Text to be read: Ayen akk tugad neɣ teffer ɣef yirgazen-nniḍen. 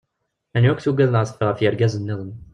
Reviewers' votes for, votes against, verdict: 1, 2, rejected